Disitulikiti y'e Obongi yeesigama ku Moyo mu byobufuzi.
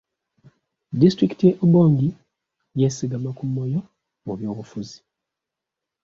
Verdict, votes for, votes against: accepted, 2, 0